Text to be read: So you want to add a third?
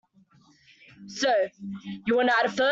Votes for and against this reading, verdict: 0, 2, rejected